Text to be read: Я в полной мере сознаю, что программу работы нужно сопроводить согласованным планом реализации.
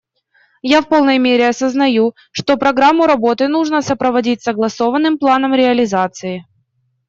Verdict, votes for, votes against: rejected, 1, 2